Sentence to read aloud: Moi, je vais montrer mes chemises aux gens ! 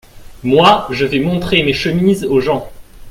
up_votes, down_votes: 2, 0